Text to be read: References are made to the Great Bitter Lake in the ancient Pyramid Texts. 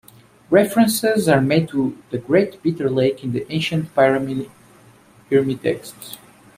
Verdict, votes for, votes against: accepted, 2, 0